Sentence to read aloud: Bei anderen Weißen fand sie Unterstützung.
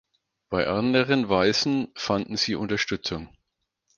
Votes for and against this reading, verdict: 0, 4, rejected